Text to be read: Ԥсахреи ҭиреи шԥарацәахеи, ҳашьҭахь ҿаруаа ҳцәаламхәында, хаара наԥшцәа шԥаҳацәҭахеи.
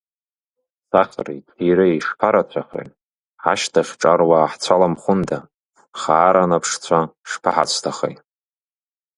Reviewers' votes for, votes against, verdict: 1, 2, rejected